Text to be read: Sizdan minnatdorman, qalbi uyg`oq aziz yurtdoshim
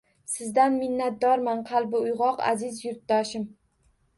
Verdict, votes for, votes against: accepted, 2, 1